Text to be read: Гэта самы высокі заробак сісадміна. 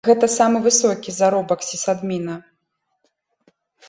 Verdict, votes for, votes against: accepted, 2, 0